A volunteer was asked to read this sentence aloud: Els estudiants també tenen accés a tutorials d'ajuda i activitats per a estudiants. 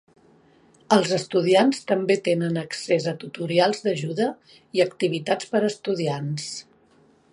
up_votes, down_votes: 2, 0